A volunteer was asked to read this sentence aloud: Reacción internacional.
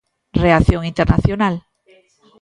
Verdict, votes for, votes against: accepted, 2, 0